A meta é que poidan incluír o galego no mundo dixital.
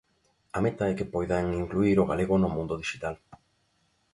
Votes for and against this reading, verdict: 2, 0, accepted